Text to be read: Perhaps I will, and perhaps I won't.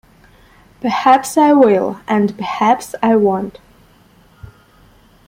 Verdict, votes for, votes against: accepted, 2, 0